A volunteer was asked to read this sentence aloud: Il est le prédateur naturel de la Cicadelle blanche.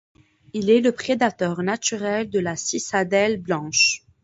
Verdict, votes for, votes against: accepted, 2, 0